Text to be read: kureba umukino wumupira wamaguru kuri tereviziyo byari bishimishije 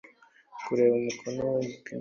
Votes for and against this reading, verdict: 0, 2, rejected